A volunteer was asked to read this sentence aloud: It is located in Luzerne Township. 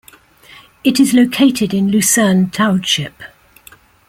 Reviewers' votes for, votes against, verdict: 2, 0, accepted